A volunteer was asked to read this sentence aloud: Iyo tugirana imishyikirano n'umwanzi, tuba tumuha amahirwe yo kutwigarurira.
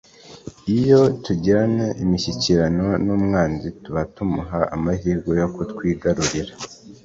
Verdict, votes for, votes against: accepted, 2, 0